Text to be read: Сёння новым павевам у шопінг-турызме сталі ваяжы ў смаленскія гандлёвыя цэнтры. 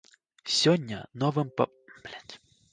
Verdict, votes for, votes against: rejected, 0, 2